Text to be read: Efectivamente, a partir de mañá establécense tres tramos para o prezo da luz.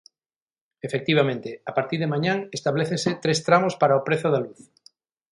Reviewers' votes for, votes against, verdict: 3, 6, rejected